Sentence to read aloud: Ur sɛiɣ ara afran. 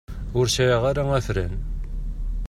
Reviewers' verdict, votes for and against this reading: accepted, 2, 0